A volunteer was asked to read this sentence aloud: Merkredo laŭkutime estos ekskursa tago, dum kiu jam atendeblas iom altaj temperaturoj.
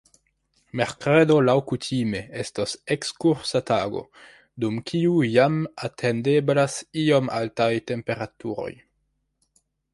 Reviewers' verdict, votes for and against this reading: accepted, 2, 1